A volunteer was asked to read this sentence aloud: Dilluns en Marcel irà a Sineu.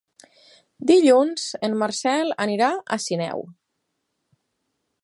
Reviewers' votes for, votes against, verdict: 8, 6, accepted